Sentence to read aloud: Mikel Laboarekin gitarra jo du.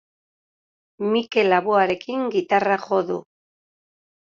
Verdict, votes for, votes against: accepted, 2, 0